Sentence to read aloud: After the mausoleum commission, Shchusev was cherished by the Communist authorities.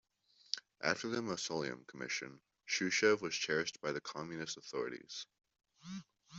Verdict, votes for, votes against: accepted, 2, 0